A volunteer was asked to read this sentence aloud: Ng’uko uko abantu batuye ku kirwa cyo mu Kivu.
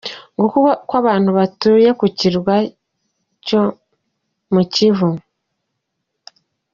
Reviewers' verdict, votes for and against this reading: accepted, 2, 0